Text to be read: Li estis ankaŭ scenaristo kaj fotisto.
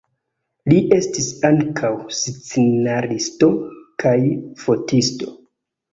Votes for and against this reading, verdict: 2, 1, accepted